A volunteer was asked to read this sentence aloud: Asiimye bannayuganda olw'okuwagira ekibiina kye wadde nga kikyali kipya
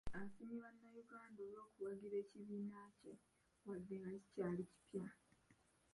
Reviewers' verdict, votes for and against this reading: rejected, 0, 2